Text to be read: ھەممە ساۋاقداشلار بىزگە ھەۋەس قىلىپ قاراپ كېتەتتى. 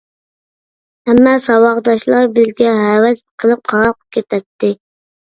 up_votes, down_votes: 2, 0